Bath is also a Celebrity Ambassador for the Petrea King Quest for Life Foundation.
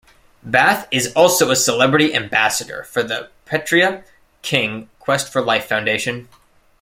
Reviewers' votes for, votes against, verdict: 2, 0, accepted